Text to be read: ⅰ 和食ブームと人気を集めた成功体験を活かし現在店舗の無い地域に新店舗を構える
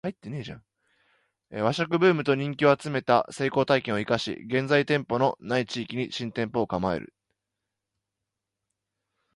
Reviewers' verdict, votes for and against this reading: rejected, 1, 2